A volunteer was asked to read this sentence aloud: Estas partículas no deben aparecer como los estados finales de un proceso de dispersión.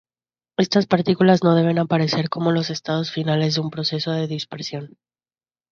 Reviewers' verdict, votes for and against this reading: accepted, 2, 0